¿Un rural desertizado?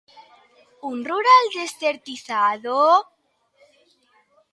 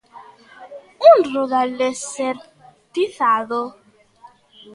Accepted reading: first